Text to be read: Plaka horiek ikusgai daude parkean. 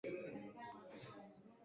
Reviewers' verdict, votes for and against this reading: rejected, 0, 7